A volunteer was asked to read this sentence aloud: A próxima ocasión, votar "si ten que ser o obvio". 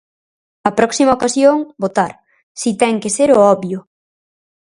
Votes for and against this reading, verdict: 4, 0, accepted